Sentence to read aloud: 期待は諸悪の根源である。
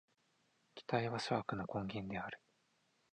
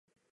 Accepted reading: first